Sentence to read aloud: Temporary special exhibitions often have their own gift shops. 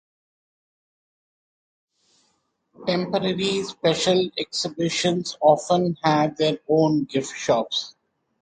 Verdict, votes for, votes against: accepted, 2, 0